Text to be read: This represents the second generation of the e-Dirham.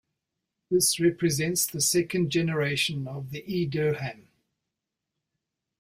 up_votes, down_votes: 2, 0